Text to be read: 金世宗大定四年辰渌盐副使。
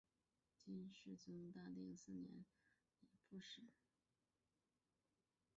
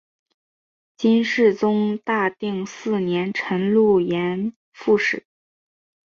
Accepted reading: second